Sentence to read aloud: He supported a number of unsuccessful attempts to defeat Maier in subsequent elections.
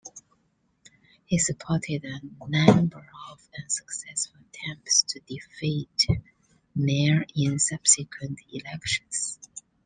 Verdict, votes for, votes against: rejected, 0, 2